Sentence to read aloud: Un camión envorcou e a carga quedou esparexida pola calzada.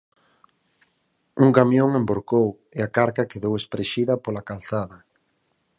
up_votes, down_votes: 4, 2